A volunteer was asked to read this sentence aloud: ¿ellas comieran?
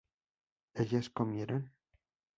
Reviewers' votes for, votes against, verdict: 2, 0, accepted